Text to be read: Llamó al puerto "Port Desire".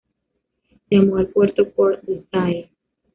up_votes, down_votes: 0, 2